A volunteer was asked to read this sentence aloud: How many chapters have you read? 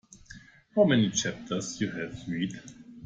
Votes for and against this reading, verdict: 0, 2, rejected